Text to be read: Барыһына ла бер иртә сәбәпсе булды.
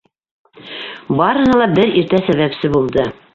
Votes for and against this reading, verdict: 0, 2, rejected